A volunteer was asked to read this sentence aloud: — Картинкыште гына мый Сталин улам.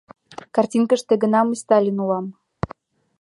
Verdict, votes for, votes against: accepted, 3, 0